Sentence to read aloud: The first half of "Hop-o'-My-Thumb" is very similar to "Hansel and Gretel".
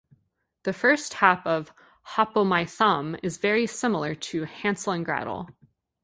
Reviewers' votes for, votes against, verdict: 2, 0, accepted